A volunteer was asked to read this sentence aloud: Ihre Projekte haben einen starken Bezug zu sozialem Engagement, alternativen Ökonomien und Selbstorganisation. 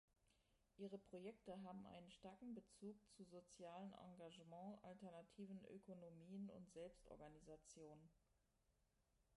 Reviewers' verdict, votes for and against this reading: rejected, 0, 2